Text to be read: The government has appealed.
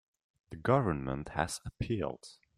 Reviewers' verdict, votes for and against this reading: rejected, 1, 2